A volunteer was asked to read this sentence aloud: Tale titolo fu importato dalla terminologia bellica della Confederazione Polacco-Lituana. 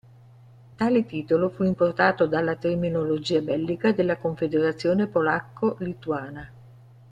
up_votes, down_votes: 2, 0